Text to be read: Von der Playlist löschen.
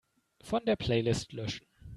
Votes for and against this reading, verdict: 2, 0, accepted